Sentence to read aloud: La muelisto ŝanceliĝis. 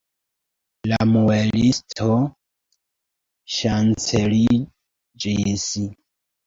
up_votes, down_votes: 0, 2